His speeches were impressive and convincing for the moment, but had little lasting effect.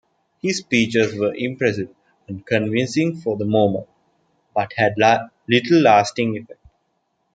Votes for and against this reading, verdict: 1, 2, rejected